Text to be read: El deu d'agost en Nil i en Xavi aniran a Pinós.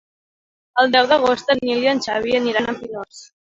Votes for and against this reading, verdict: 0, 2, rejected